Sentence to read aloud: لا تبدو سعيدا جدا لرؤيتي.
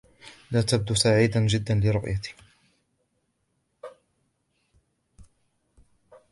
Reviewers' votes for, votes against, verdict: 2, 0, accepted